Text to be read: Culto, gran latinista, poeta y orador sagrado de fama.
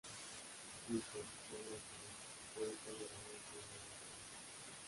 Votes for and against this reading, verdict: 0, 2, rejected